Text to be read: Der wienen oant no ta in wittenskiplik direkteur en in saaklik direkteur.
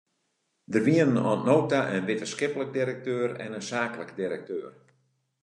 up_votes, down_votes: 2, 0